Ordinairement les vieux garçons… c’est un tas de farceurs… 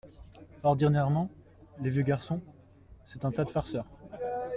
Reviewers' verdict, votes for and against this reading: accepted, 2, 0